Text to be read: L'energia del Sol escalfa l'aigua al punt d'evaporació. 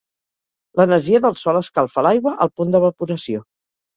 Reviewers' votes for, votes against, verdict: 4, 0, accepted